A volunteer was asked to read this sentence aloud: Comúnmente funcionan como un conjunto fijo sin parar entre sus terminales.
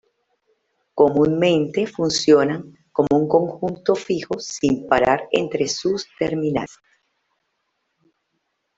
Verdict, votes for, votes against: accepted, 2, 0